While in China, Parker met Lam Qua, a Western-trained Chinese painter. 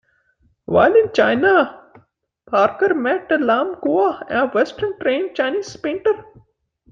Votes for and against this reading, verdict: 2, 0, accepted